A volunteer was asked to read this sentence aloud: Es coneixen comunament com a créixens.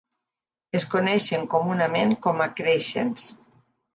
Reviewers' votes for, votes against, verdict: 3, 0, accepted